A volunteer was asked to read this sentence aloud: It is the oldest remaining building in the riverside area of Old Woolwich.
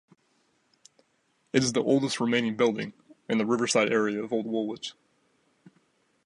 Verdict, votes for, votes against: accepted, 2, 0